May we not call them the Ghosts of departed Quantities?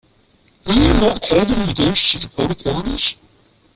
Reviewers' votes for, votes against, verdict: 0, 2, rejected